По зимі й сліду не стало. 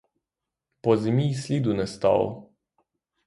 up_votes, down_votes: 3, 3